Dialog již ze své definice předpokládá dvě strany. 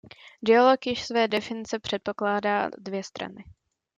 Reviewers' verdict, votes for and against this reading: rejected, 0, 2